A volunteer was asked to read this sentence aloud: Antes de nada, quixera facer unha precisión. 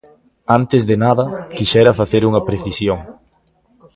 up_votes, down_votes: 2, 0